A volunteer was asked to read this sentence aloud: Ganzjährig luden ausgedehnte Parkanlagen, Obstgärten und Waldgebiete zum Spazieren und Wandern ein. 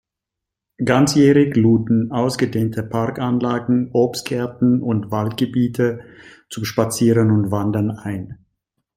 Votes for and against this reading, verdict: 2, 0, accepted